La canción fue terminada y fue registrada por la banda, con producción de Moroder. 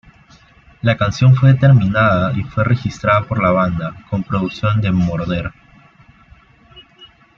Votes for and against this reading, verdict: 2, 0, accepted